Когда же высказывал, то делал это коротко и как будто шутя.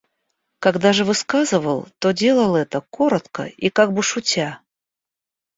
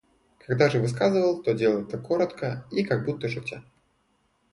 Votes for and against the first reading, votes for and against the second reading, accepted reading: 0, 2, 2, 0, second